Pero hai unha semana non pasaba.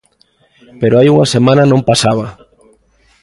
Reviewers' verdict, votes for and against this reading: accepted, 2, 0